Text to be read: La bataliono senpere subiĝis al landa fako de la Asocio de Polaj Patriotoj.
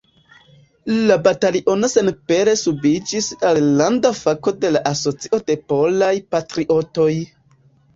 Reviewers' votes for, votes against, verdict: 1, 2, rejected